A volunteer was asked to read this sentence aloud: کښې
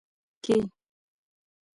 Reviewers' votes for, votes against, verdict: 2, 0, accepted